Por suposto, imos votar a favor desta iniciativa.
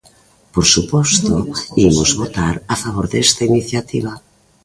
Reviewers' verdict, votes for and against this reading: accepted, 2, 0